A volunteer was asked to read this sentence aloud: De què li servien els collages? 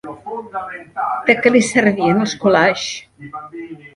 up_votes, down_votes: 1, 2